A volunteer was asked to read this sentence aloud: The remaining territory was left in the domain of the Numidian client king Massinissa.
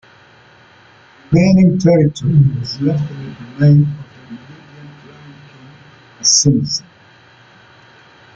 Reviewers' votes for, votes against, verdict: 0, 2, rejected